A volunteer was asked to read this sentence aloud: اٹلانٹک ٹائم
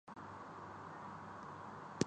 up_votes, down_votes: 0, 2